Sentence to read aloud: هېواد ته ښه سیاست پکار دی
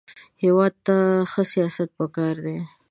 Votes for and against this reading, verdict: 2, 0, accepted